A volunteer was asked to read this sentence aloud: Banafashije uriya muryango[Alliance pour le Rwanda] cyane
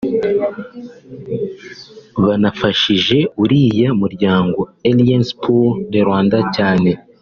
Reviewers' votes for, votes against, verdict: 1, 2, rejected